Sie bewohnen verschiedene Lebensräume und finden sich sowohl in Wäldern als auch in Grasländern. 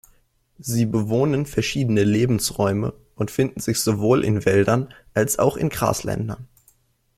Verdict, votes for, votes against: accepted, 2, 0